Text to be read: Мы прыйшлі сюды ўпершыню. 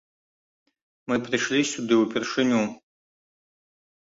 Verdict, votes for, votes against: accepted, 2, 0